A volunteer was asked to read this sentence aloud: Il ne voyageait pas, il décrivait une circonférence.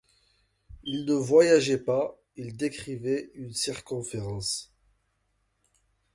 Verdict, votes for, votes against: accepted, 2, 0